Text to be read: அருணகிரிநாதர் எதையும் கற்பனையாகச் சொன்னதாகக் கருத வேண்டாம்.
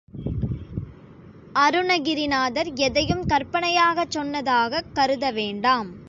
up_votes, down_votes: 2, 0